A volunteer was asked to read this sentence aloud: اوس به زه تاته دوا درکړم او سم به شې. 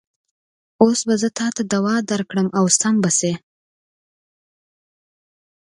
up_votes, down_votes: 2, 0